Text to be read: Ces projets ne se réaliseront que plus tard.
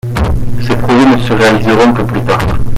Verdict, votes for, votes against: rejected, 0, 2